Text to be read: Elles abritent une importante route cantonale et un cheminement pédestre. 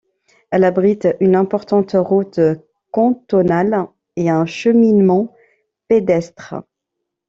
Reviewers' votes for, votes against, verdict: 1, 2, rejected